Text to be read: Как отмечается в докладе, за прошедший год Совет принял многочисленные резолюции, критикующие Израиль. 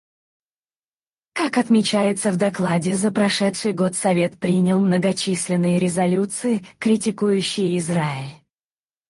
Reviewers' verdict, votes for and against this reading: rejected, 0, 2